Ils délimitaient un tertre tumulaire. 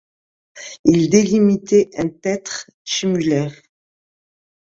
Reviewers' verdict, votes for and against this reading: rejected, 1, 2